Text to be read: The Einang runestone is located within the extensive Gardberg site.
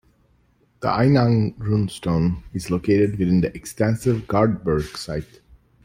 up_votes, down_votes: 2, 0